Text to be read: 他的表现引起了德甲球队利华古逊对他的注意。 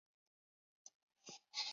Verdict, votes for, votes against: rejected, 0, 2